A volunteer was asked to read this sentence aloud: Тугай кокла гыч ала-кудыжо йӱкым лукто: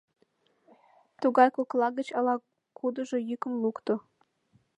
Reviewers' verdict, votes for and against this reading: accepted, 2, 0